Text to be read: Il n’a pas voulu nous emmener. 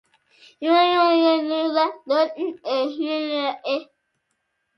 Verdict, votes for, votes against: rejected, 0, 2